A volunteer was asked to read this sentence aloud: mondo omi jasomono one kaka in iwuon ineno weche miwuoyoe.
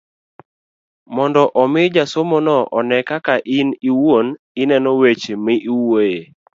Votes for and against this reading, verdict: 2, 0, accepted